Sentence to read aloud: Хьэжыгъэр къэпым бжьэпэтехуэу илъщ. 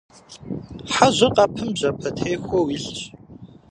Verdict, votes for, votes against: rejected, 1, 2